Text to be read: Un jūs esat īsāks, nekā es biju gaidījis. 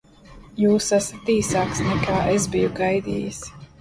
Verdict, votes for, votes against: accepted, 2, 0